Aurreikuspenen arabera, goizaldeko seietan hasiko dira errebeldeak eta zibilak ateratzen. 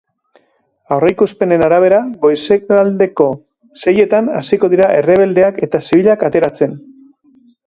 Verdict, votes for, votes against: rejected, 0, 3